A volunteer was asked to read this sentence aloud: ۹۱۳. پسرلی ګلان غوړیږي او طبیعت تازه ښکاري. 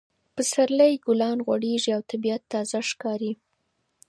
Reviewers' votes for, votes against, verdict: 0, 2, rejected